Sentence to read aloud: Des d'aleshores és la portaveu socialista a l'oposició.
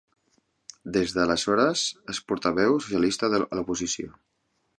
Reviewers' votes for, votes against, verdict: 1, 3, rejected